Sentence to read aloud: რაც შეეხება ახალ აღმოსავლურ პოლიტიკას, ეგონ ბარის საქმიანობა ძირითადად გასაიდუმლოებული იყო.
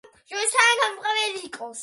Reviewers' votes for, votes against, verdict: 0, 2, rejected